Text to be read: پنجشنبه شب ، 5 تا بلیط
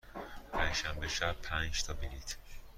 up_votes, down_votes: 0, 2